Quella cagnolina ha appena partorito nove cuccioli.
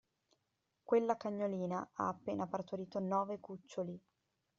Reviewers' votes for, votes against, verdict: 2, 0, accepted